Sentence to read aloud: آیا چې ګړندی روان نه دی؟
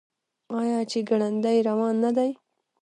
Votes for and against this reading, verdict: 0, 2, rejected